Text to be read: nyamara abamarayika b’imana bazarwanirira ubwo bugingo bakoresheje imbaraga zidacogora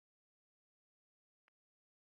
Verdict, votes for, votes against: rejected, 0, 2